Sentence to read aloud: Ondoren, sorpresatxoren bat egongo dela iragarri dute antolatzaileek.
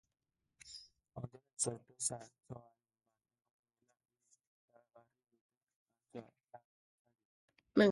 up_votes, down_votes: 0, 2